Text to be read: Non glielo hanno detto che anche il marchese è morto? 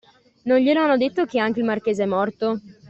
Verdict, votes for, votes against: accepted, 2, 0